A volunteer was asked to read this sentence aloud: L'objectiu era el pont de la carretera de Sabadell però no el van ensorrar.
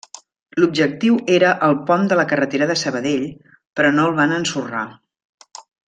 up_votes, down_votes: 1, 2